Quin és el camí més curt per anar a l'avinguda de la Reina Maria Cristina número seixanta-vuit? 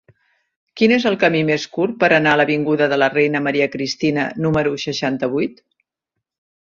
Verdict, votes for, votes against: accepted, 3, 0